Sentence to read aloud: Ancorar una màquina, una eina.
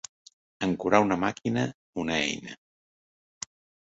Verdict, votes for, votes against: accepted, 2, 0